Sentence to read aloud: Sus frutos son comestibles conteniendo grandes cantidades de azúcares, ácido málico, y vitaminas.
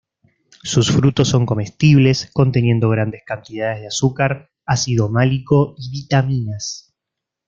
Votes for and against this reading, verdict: 1, 2, rejected